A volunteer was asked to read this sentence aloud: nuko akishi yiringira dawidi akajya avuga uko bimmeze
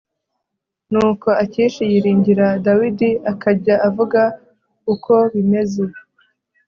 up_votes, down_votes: 3, 0